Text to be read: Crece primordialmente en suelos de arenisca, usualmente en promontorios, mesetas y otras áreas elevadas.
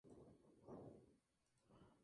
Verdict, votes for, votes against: rejected, 0, 2